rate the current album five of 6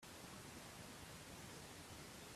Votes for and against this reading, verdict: 0, 2, rejected